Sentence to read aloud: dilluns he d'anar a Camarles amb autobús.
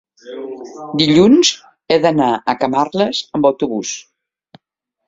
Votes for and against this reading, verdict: 3, 0, accepted